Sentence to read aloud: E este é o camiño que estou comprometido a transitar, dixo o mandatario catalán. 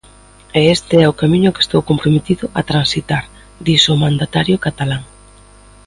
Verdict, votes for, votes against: accepted, 2, 0